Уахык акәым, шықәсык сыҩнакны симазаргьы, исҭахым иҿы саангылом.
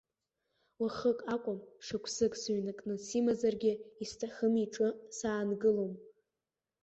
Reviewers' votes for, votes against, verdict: 2, 0, accepted